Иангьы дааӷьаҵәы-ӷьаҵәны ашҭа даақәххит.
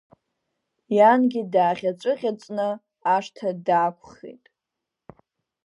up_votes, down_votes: 2, 1